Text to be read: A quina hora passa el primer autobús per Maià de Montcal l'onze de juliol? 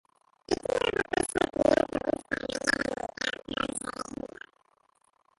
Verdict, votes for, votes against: rejected, 0, 3